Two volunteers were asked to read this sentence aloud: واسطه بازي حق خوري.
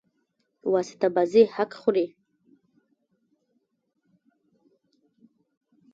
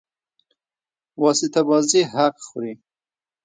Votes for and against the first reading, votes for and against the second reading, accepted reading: 1, 2, 2, 1, second